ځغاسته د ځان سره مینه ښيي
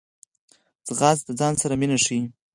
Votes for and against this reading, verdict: 4, 2, accepted